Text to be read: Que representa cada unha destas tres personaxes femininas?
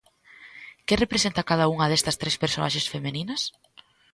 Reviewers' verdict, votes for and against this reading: rejected, 0, 2